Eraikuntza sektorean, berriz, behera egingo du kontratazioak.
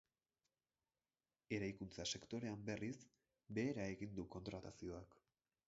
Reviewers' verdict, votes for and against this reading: rejected, 2, 6